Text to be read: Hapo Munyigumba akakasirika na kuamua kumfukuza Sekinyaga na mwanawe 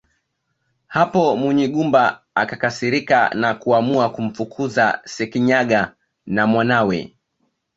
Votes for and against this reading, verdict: 2, 0, accepted